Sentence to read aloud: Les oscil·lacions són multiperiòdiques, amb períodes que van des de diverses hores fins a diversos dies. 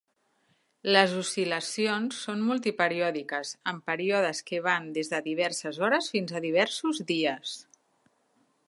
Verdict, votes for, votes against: accepted, 4, 0